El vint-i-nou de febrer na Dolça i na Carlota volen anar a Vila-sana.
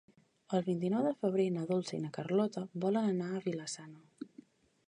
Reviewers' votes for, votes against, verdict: 3, 0, accepted